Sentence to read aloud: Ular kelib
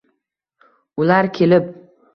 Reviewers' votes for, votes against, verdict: 2, 1, accepted